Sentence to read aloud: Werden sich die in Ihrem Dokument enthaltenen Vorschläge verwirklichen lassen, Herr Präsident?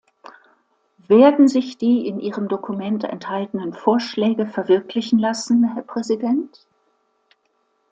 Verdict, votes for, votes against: accepted, 2, 0